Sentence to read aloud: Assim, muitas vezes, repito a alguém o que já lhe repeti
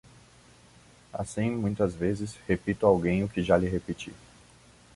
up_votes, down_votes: 2, 0